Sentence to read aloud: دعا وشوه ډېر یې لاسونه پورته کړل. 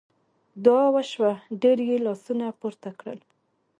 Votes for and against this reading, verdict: 2, 1, accepted